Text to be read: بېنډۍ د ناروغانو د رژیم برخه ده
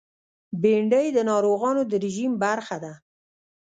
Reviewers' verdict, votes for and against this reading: rejected, 0, 2